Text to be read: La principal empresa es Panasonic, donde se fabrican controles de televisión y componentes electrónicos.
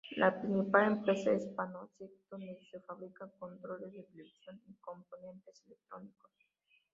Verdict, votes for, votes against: rejected, 0, 2